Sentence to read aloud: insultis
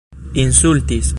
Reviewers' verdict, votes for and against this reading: accepted, 2, 0